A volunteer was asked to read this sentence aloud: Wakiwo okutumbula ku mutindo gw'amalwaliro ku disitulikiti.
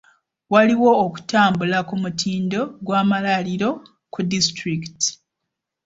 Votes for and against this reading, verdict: 1, 2, rejected